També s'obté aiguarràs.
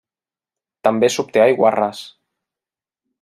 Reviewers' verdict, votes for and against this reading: accepted, 2, 0